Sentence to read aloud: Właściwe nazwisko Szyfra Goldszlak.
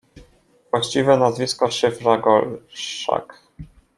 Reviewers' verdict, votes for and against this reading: rejected, 0, 2